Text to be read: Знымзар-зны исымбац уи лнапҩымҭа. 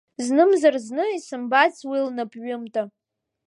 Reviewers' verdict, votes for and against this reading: accepted, 2, 0